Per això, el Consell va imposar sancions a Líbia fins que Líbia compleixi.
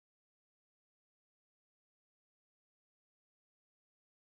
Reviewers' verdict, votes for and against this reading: rejected, 0, 2